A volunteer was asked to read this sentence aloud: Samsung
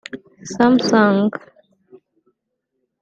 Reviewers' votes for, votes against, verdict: 0, 2, rejected